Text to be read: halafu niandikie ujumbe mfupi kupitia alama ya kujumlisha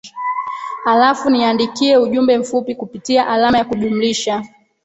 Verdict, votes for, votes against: rejected, 0, 2